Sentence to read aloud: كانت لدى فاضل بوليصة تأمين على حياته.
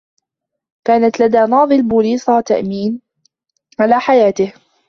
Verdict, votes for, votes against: rejected, 0, 2